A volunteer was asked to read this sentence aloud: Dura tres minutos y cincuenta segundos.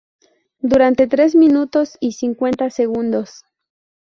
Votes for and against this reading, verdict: 0, 2, rejected